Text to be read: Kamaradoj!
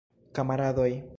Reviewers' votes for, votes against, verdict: 3, 2, accepted